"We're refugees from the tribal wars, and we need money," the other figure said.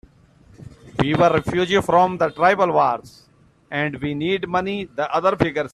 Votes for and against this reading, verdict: 2, 4, rejected